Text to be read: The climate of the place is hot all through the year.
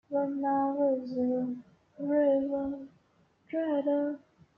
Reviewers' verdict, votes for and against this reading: rejected, 1, 2